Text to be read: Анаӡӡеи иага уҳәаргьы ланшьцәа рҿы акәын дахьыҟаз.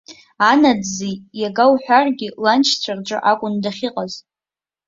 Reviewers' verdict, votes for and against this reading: accepted, 2, 0